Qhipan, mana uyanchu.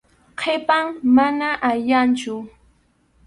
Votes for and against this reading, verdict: 0, 2, rejected